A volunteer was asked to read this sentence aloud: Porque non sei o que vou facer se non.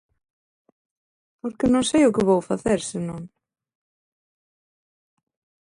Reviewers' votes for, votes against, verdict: 2, 0, accepted